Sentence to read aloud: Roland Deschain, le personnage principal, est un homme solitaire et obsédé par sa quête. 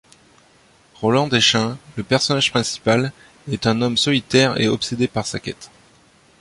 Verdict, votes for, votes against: accepted, 2, 0